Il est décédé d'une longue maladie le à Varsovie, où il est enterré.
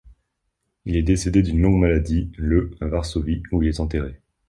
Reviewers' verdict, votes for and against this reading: accepted, 2, 0